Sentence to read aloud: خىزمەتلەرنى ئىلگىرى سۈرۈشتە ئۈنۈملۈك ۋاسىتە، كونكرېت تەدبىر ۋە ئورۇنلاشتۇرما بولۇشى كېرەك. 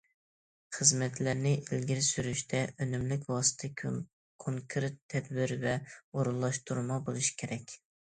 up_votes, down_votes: 1, 2